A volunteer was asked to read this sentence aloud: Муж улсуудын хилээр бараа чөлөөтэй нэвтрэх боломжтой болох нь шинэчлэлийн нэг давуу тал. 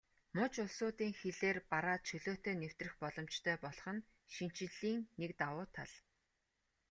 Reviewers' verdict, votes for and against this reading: accepted, 2, 0